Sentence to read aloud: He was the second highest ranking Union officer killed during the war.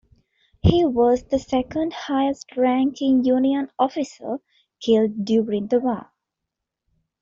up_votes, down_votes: 2, 0